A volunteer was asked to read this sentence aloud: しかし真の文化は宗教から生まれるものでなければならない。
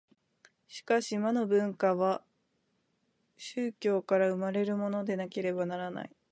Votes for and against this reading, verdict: 0, 2, rejected